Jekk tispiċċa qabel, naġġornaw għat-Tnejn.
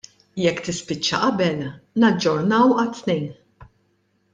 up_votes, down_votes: 2, 1